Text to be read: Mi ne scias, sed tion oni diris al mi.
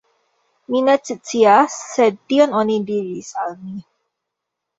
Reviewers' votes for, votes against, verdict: 0, 2, rejected